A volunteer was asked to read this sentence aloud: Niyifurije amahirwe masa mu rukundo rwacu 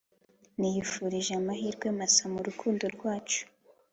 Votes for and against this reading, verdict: 2, 0, accepted